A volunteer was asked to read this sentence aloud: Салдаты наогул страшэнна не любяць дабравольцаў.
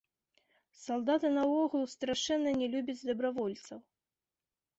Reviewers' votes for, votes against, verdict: 1, 2, rejected